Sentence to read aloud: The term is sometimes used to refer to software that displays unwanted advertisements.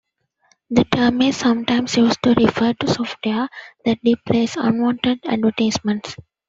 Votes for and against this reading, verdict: 0, 2, rejected